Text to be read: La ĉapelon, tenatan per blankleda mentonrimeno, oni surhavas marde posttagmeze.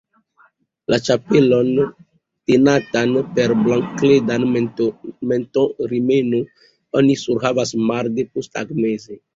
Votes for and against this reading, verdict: 1, 2, rejected